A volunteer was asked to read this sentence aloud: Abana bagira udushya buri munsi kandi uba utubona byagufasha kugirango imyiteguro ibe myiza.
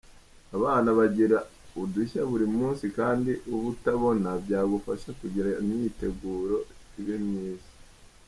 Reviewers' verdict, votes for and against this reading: rejected, 0, 2